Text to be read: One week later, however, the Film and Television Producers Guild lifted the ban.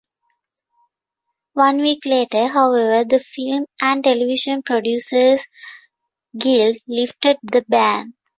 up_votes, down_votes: 2, 1